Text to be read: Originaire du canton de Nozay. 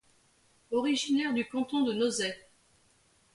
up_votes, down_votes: 2, 0